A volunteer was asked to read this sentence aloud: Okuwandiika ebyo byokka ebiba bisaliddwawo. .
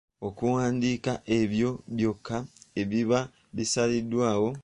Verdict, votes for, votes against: accepted, 2, 0